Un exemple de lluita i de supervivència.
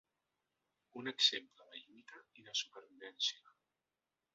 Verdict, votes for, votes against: rejected, 1, 2